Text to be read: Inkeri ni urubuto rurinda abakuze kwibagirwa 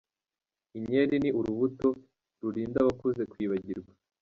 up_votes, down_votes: 2, 0